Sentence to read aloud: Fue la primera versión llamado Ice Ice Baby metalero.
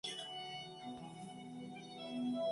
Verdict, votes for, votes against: rejected, 0, 2